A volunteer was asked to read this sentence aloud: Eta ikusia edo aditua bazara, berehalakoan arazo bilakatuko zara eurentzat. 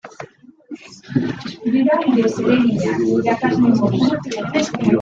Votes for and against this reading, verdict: 0, 2, rejected